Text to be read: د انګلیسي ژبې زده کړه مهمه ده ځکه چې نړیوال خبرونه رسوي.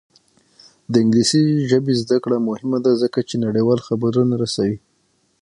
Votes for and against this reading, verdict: 6, 3, accepted